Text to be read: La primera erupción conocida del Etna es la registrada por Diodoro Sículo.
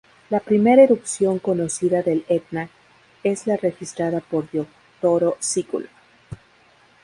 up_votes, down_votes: 4, 2